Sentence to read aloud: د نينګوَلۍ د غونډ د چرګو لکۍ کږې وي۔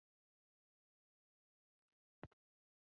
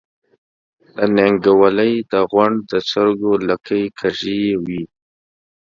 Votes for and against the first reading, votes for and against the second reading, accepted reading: 0, 2, 2, 0, second